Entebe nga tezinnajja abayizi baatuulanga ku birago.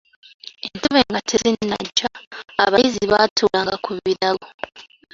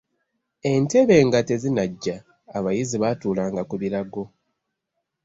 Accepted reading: second